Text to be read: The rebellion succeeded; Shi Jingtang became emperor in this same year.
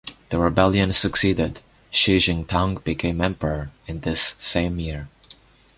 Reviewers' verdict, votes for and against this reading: accepted, 2, 0